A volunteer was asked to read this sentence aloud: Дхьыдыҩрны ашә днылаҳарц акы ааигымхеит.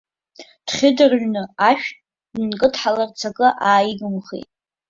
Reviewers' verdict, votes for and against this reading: rejected, 1, 2